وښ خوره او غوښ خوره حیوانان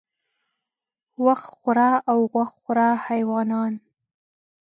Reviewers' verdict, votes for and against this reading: rejected, 0, 2